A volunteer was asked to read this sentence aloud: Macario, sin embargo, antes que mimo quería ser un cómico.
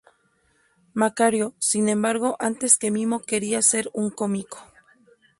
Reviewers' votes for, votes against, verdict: 2, 0, accepted